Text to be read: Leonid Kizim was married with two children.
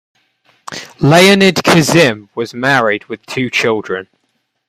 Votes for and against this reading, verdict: 2, 0, accepted